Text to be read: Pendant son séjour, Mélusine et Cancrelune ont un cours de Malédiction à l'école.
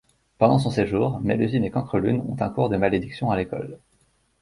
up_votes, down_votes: 2, 0